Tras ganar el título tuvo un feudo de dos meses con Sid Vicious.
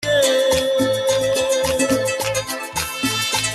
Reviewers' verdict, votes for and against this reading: rejected, 0, 2